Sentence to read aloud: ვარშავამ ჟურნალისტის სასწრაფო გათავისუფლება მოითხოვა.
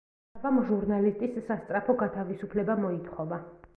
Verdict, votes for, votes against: rejected, 1, 2